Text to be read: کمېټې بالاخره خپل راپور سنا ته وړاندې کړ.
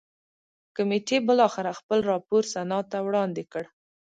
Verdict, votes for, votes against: accepted, 2, 0